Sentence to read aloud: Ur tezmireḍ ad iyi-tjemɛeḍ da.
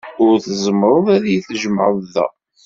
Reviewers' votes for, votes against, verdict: 1, 2, rejected